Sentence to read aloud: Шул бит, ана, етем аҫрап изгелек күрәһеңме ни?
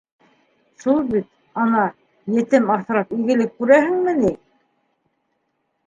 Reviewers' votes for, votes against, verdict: 2, 1, accepted